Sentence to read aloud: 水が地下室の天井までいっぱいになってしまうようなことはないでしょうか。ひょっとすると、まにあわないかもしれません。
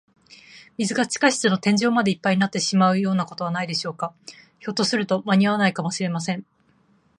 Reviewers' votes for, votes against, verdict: 2, 0, accepted